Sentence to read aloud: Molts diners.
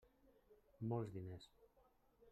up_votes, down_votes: 1, 2